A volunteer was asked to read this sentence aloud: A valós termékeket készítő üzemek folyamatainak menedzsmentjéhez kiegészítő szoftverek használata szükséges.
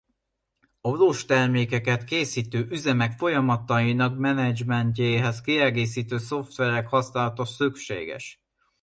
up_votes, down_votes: 1, 2